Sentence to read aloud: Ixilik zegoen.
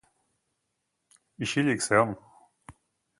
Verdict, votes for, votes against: rejected, 2, 2